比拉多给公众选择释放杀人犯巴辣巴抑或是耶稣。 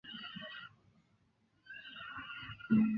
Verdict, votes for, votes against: rejected, 0, 2